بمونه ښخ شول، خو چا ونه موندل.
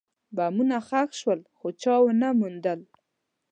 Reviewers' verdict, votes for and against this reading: accepted, 2, 0